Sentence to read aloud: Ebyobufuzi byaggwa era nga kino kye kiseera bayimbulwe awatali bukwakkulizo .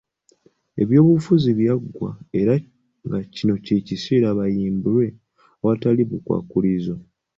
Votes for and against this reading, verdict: 2, 0, accepted